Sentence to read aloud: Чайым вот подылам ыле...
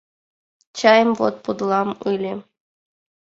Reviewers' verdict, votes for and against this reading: accepted, 2, 0